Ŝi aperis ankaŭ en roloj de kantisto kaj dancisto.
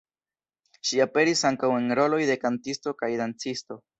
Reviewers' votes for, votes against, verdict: 1, 2, rejected